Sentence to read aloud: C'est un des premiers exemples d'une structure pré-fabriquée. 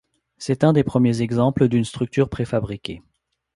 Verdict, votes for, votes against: accepted, 2, 0